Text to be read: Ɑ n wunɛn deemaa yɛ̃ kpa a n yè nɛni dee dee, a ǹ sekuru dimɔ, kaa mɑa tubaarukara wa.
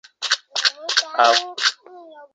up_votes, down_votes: 0, 2